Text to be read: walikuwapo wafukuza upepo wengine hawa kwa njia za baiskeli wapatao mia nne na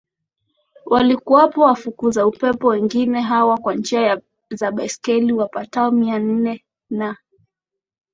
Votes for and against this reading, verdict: 17, 0, accepted